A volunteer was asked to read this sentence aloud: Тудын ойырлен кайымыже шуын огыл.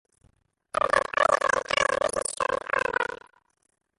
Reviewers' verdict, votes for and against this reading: rejected, 1, 2